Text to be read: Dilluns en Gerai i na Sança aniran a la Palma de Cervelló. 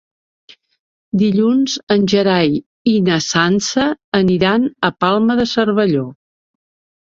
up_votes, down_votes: 2, 1